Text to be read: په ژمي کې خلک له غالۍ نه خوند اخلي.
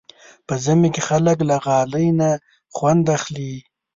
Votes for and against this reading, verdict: 2, 0, accepted